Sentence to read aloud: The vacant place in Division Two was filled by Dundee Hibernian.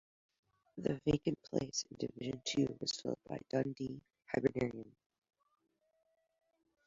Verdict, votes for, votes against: rejected, 0, 2